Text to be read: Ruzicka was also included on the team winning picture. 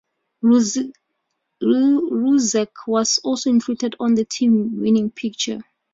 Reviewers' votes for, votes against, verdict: 0, 2, rejected